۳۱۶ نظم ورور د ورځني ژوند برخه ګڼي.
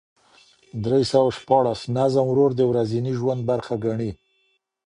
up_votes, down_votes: 0, 2